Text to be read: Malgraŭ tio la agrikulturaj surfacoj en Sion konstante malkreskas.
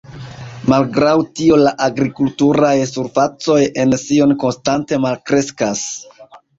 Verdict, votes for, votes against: rejected, 0, 2